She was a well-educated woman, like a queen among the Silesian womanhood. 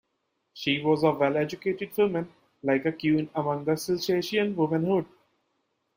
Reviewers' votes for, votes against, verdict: 0, 2, rejected